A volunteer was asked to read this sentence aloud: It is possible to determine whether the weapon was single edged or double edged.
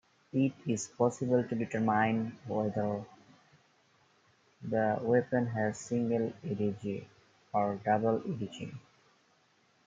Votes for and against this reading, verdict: 1, 2, rejected